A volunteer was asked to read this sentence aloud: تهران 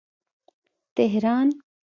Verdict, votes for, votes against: accepted, 2, 0